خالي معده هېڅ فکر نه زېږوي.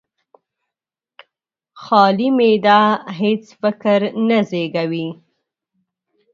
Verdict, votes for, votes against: accepted, 2, 0